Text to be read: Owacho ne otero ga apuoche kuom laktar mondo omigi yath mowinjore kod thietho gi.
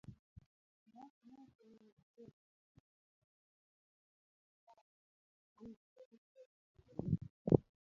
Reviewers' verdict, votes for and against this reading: rejected, 0, 2